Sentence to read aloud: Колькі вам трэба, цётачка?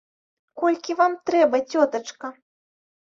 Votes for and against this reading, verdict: 2, 0, accepted